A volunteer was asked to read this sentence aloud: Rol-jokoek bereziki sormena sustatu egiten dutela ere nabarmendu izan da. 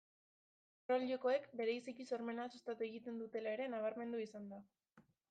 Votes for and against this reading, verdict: 0, 2, rejected